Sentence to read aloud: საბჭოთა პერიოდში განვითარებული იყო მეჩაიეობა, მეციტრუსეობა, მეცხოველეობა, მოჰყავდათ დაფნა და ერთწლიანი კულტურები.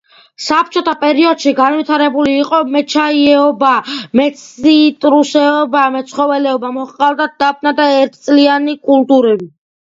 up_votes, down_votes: 2, 1